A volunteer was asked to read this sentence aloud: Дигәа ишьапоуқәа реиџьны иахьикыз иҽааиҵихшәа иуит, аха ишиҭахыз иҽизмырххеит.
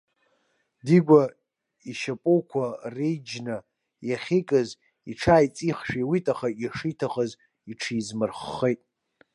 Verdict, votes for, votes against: rejected, 0, 2